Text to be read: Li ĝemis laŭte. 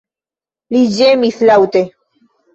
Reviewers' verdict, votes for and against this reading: accepted, 2, 0